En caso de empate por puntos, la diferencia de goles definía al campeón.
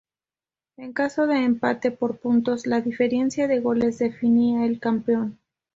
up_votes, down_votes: 2, 2